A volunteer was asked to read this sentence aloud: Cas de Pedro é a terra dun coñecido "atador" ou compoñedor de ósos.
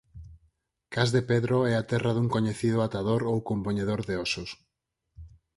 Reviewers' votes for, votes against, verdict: 6, 0, accepted